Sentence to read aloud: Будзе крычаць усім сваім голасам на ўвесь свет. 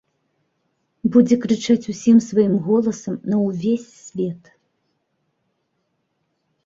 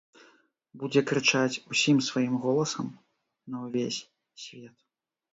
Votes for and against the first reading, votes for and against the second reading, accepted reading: 2, 0, 1, 2, first